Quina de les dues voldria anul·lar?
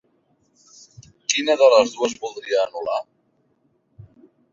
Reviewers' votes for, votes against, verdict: 6, 0, accepted